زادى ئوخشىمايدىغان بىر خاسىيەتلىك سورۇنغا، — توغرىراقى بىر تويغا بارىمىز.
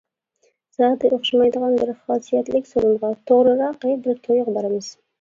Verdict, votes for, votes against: rejected, 1, 2